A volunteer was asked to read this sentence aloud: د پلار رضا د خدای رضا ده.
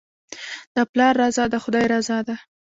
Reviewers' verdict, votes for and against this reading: accepted, 2, 1